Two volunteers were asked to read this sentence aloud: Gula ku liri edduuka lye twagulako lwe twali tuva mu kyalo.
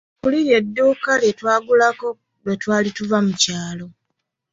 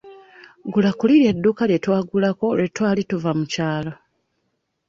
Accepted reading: second